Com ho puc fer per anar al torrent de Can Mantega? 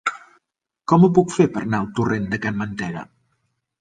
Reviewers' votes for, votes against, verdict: 2, 0, accepted